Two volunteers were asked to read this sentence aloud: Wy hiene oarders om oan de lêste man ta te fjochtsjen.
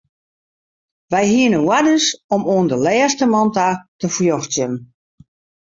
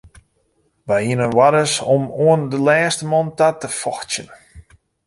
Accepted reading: first